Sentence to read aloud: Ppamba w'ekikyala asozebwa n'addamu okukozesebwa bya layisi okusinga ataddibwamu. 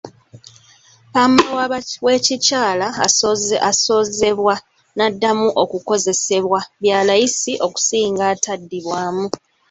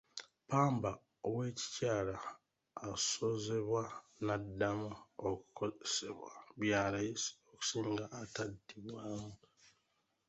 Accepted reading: first